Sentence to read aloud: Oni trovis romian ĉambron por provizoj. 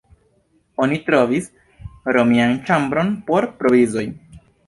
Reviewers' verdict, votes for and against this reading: accepted, 2, 0